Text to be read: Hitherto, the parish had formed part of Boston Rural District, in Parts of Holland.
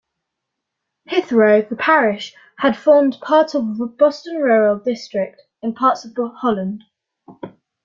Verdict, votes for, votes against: accepted, 2, 1